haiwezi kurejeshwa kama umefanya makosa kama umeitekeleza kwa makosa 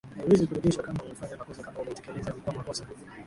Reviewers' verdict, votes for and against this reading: rejected, 1, 6